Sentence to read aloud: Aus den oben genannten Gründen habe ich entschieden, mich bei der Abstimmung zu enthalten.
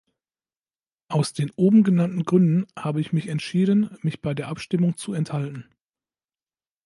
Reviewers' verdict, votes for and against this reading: rejected, 0, 2